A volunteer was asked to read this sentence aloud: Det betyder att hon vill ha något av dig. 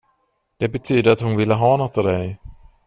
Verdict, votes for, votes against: rejected, 1, 2